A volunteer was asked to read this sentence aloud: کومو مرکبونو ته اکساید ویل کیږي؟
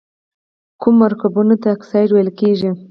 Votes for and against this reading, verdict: 4, 0, accepted